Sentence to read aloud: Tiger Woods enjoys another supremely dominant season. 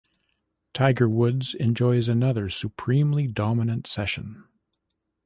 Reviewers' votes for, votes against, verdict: 1, 2, rejected